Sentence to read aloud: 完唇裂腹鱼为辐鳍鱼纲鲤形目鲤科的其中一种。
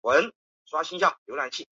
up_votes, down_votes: 1, 2